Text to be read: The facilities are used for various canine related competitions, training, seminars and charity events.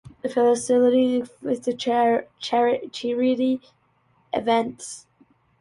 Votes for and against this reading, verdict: 0, 2, rejected